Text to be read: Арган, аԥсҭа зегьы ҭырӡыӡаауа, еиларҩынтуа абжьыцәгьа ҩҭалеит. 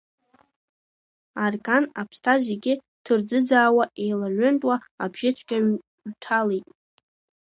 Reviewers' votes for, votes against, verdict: 2, 1, accepted